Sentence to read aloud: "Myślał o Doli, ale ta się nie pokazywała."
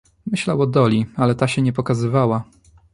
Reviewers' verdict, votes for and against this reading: accepted, 2, 0